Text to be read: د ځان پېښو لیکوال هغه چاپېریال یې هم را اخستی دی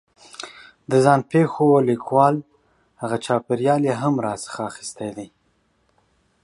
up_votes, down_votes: 0, 2